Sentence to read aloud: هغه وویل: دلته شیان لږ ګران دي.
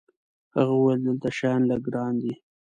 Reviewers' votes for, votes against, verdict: 2, 0, accepted